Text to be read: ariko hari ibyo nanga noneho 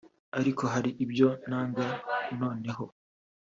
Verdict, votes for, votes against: accepted, 2, 0